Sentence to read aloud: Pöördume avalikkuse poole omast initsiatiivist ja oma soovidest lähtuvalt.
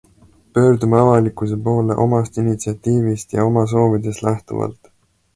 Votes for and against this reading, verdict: 2, 0, accepted